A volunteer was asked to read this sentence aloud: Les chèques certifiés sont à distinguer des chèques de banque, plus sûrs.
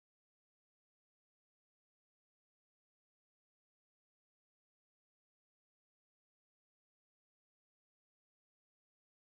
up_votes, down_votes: 0, 2